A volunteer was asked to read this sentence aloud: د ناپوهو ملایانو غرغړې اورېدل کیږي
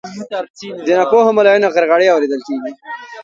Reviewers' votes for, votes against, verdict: 0, 2, rejected